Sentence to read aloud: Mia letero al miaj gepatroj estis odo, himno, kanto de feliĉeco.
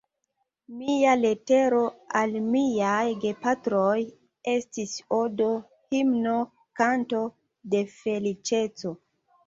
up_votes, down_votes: 2, 0